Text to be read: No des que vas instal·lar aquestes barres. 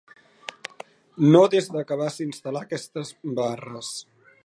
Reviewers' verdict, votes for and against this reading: rejected, 0, 2